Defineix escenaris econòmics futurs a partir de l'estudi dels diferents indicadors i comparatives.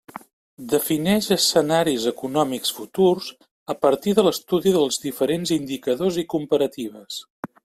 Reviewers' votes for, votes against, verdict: 3, 0, accepted